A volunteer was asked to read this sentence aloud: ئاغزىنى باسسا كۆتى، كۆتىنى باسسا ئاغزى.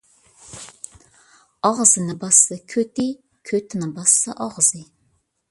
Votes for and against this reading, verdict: 2, 0, accepted